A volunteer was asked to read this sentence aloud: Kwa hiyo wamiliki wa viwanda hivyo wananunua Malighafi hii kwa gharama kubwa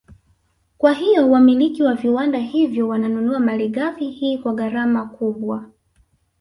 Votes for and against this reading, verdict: 0, 2, rejected